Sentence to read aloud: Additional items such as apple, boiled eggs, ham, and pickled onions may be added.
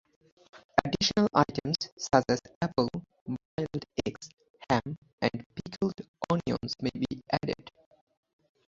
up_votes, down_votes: 0, 2